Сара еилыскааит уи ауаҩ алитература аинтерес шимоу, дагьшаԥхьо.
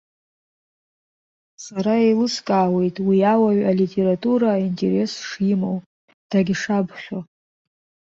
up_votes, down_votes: 1, 2